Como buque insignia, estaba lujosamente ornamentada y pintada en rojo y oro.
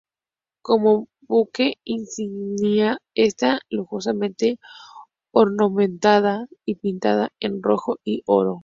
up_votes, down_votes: 0, 2